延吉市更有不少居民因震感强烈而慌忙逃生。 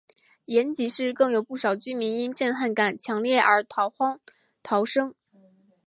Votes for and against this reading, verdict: 0, 2, rejected